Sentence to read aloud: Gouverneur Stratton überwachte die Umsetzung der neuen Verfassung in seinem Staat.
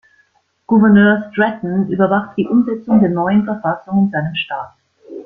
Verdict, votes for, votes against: accepted, 2, 1